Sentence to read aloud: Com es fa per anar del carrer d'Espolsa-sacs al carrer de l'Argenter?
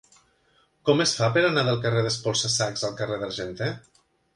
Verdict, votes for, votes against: accepted, 2, 1